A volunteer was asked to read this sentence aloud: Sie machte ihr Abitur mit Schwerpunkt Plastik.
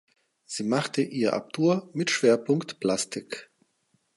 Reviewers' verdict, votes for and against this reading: rejected, 2, 4